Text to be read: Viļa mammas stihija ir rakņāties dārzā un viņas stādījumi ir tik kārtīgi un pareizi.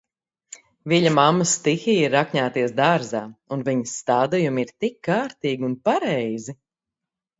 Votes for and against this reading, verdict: 4, 0, accepted